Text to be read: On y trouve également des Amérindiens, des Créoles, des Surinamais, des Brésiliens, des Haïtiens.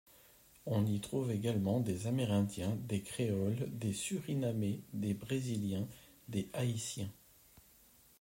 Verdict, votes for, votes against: accepted, 2, 0